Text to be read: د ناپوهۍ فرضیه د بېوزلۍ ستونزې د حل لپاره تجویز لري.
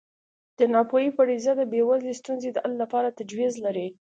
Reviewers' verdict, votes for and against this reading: accepted, 2, 0